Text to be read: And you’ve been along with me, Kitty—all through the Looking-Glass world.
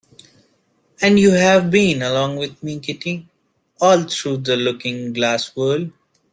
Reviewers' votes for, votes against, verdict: 0, 2, rejected